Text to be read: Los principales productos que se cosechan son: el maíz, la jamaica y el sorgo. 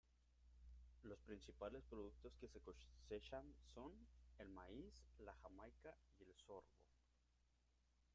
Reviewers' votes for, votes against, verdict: 0, 2, rejected